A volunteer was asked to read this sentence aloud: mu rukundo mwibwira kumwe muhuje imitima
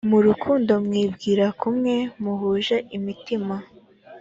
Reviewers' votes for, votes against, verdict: 3, 0, accepted